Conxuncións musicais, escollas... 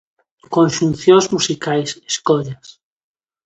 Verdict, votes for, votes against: accepted, 2, 0